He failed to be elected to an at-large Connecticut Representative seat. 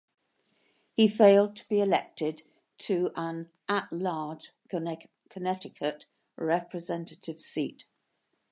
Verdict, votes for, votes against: rejected, 0, 2